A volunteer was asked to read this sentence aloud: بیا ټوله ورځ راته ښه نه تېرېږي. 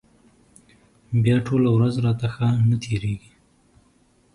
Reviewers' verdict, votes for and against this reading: accepted, 2, 0